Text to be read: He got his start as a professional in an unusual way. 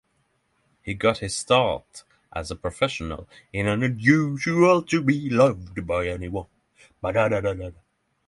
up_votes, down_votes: 0, 6